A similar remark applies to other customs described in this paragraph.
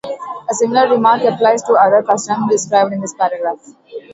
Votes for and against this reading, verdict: 2, 2, rejected